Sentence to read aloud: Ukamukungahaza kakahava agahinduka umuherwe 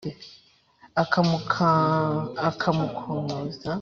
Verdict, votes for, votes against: rejected, 1, 2